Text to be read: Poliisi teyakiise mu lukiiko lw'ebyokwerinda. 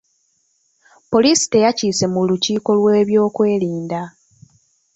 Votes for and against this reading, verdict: 2, 1, accepted